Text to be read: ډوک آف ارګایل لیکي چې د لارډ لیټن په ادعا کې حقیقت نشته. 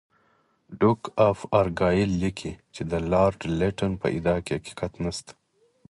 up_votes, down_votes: 4, 0